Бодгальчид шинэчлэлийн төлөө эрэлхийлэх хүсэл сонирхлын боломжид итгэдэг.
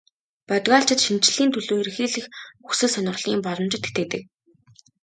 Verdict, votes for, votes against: accepted, 5, 0